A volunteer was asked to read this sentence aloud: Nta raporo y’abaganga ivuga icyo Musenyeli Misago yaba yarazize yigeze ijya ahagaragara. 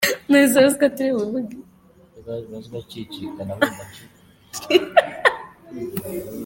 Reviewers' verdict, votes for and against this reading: rejected, 0, 2